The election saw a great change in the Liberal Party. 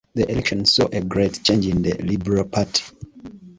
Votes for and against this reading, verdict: 2, 1, accepted